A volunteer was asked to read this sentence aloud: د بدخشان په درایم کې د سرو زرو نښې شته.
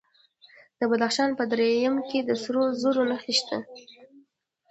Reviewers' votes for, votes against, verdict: 1, 2, rejected